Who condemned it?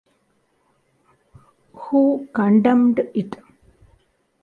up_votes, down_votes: 2, 0